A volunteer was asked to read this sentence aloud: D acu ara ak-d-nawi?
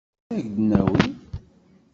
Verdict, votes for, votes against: rejected, 1, 2